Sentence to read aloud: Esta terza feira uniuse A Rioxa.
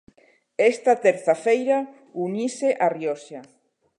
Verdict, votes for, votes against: rejected, 0, 2